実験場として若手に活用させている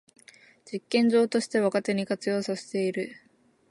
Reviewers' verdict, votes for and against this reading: accepted, 5, 1